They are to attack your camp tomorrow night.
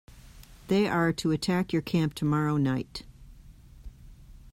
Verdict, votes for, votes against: accepted, 2, 0